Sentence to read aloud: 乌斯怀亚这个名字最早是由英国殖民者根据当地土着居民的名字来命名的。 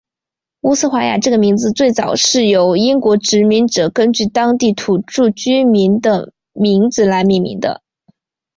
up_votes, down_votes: 4, 0